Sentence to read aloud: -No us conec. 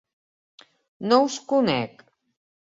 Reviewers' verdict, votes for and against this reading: accepted, 2, 0